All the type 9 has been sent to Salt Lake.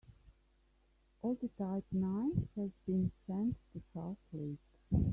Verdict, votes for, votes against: rejected, 0, 2